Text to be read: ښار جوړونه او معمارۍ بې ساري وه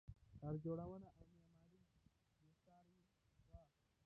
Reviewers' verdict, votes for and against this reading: rejected, 0, 2